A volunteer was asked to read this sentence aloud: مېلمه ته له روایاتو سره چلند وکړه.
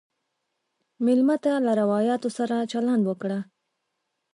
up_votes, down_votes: 2, 0